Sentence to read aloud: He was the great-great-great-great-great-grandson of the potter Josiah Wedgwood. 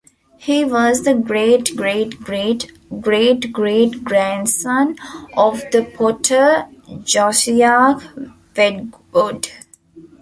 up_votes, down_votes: 1, 2